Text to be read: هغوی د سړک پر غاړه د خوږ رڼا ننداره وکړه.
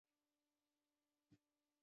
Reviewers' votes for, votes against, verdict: 1, 2, rejected